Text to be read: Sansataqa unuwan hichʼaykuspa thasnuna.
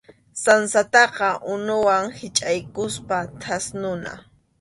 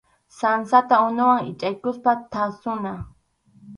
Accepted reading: first